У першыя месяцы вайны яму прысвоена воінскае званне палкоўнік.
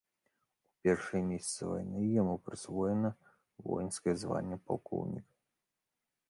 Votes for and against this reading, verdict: 1, 2, rejected